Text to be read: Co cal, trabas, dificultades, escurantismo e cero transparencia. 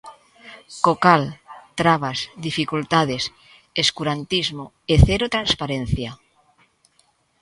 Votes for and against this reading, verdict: 2, 1, accepted